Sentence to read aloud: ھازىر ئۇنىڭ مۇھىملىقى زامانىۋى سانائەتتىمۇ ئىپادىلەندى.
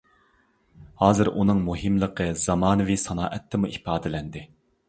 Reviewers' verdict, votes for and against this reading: accepted, 2, 0